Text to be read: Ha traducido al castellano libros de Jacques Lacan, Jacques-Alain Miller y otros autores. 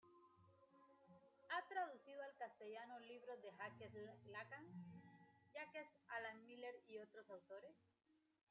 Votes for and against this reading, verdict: 1, 2, rejected